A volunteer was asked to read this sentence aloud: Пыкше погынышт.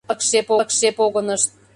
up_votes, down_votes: 0, 2